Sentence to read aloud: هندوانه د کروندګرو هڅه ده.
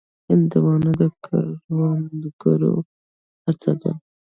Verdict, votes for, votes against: accepted, 2, 1